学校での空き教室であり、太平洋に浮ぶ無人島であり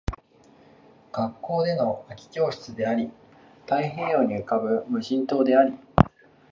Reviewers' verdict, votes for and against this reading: accepted, 10, 3